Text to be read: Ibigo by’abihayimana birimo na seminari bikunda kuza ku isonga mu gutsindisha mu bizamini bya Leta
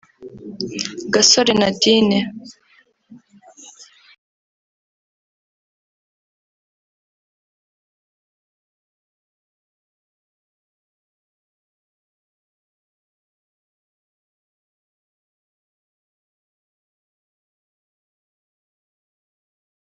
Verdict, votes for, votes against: rejected, 0, 2